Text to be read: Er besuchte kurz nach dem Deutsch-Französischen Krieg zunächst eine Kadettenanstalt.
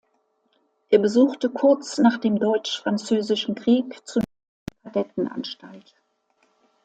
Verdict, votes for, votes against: rejected, 1, 2